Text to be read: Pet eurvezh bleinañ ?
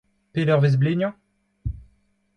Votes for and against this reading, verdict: 2, 1, accepted